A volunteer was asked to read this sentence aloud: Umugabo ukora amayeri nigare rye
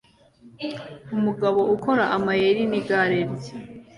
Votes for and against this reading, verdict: 2, 0, accepted